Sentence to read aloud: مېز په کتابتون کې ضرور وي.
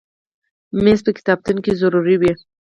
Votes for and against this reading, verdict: 4, 2, accepted